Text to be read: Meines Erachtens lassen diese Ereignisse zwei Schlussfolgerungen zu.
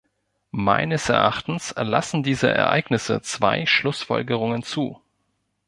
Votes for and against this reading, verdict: 2, 0, accepted